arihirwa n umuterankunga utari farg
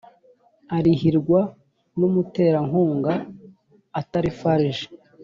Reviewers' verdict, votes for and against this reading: rejected, 1, 3